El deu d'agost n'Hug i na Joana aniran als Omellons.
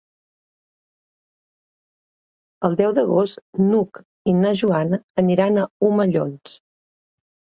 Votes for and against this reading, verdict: 0, 4, rejected